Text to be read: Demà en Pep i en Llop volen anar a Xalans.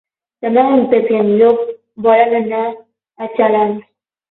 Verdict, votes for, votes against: accepted, 18, 12